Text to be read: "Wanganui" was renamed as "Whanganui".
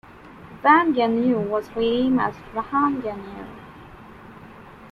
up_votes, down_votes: 1, 2